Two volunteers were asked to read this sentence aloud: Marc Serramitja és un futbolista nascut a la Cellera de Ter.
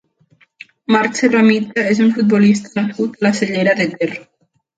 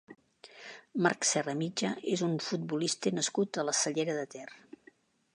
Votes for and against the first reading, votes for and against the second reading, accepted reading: 0, 2, 2, 0, second